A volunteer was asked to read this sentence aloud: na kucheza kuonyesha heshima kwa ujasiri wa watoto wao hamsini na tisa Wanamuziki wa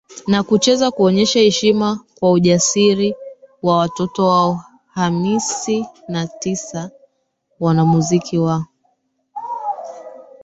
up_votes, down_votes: 1, 2